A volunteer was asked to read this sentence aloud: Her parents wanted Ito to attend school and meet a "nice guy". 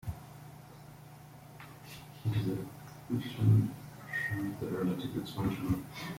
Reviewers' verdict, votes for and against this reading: rejected, 1, 2